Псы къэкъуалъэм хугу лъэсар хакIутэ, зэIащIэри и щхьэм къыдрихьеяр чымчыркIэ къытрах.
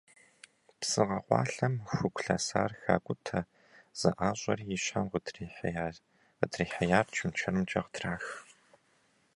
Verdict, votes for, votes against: rejected, 0, 2